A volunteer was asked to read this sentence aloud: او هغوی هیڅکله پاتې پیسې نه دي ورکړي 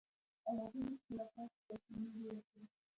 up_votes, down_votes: 0, 2